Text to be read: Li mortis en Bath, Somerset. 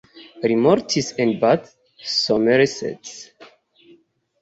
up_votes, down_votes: 2, 0